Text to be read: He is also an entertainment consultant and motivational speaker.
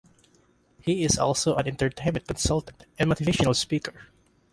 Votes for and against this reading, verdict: 0, 2, rejected